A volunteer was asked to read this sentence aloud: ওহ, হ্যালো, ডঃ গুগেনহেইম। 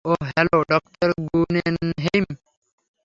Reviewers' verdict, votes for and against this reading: rejected, 0, 3